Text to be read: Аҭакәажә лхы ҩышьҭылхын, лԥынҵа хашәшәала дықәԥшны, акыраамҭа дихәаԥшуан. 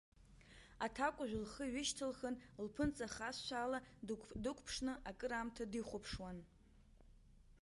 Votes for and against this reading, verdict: 1, 2, rejected